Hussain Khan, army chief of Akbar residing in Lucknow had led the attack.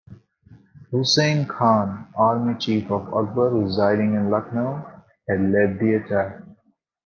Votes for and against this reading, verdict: 2, 1, accepted